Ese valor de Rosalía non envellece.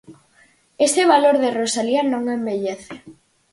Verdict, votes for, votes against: accepted, 4, 0